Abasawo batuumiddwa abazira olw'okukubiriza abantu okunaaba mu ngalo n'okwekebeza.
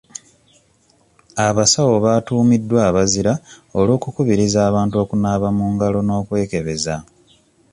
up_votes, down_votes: 2, 0